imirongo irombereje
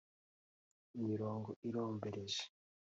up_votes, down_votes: 3, 0